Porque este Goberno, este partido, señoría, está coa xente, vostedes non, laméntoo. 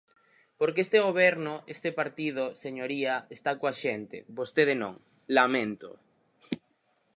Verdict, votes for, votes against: rejected, 0, 4